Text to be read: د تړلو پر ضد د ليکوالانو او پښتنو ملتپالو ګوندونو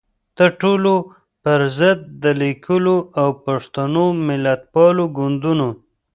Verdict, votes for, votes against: rejected, 1, 2